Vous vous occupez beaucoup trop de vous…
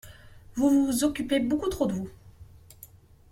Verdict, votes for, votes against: accepted, 2, 0